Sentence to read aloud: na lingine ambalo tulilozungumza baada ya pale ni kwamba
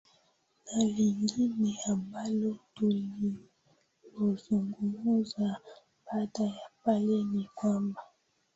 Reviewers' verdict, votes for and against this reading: accepted, 2, 1